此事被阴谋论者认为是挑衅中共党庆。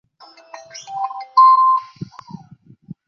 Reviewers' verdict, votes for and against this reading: rejected, 0, 3